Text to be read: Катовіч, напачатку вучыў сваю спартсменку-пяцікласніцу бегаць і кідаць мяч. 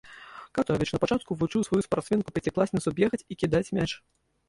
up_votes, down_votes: 1, 3